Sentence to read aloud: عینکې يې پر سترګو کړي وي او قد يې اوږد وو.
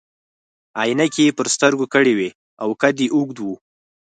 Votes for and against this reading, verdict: 4, 0, accepted